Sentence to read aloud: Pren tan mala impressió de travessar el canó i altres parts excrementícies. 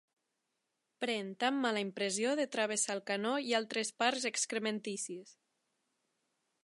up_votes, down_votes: 1, 2